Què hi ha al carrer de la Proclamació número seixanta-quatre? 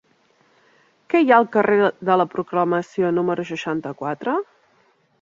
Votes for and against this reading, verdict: 0, 2, rejected